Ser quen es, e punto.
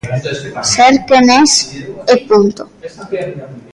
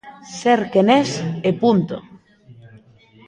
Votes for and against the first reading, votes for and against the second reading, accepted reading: 1, 2, 2, 0, second